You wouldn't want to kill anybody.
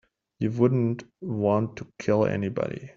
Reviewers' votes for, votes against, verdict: 2, 0, accepted